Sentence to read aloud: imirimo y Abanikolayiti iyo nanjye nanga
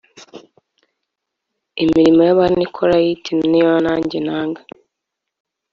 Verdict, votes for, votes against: accepted, 2, 0